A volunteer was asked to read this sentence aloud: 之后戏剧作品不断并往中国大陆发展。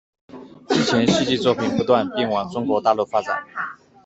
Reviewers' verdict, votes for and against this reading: rejected, 0, 2